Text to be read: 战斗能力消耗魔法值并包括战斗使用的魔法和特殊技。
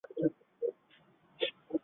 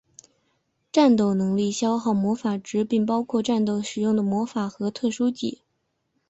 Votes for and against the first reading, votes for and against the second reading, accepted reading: 0, 2, 2, 0, second